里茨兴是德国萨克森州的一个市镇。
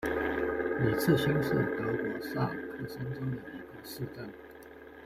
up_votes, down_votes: 0, 2